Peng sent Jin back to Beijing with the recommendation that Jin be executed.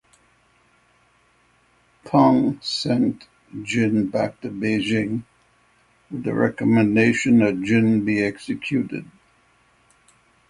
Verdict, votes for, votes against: rejected, 0, 6